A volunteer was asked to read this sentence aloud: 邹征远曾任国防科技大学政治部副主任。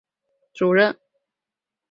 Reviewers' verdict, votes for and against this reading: rejected, 1, 2